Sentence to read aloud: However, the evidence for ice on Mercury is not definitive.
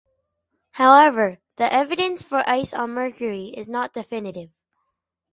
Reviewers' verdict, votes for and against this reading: accepted, 4, 0